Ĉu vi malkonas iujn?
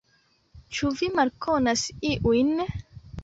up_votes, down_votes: 0, 2